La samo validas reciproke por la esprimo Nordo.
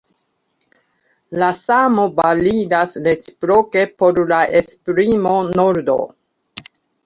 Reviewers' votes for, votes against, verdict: 2, 1, accepted